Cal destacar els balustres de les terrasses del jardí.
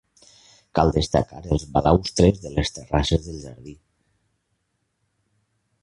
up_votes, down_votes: 0, 2